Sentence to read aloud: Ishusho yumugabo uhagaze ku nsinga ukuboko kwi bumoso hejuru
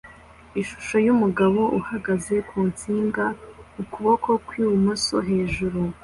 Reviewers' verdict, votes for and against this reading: accepted, 2, 0